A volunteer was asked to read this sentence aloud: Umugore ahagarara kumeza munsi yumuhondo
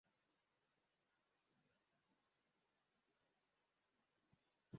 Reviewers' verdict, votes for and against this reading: rejected, 0, 2